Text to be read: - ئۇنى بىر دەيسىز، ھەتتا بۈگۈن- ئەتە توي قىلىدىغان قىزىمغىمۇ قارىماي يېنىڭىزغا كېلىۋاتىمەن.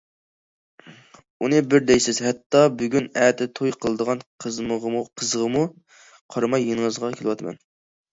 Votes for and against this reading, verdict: 0, 2, rejected